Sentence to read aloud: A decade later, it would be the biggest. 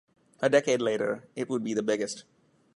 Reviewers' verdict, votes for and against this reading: rejected, 1, 2